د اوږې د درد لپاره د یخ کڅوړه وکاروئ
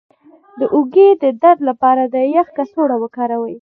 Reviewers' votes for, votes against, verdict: 1, 2, rejected